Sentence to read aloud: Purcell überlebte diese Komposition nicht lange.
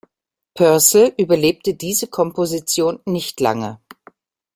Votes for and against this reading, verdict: 2, 0, accepted